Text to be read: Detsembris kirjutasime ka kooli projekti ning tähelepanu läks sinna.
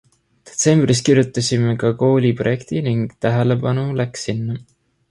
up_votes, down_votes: 2, 0